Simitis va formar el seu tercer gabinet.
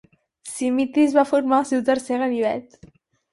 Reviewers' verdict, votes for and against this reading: rejected, 2, 4